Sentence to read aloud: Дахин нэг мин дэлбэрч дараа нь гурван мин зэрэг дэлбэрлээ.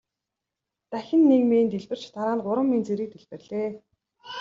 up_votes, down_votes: 2, 0